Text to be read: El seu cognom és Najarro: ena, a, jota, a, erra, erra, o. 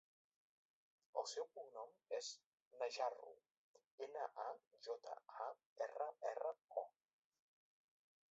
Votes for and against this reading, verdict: 1, 2, rejected